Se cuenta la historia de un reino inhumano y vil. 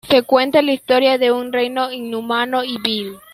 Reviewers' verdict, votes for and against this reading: rejected, 1, 2